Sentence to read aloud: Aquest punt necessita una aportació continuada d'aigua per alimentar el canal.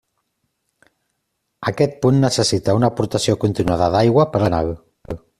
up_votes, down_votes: 0, 2